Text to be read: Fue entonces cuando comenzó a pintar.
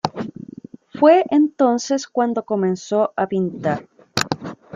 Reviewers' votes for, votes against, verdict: 0, 2, rejected